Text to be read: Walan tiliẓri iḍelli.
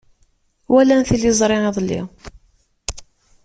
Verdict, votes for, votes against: accepted, 2, 0